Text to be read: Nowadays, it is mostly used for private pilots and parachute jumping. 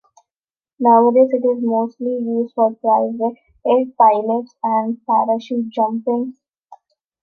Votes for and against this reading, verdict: 0, 2, rejected